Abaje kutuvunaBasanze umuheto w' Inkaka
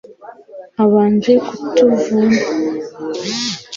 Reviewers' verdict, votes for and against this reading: rejected, 1, 2